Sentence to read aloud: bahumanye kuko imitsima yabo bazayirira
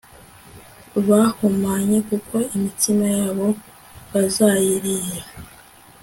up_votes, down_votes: 2, 0